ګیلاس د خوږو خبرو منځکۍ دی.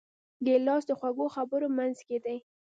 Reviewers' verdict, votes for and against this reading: rejected, 1, 2